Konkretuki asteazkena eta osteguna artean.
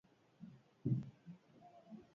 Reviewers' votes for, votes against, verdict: 2, 0, accepted